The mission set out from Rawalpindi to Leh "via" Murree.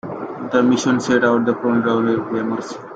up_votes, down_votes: 0, 2